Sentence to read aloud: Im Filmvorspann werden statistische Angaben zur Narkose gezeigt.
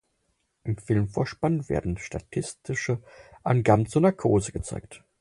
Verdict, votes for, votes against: accepted, 4, 0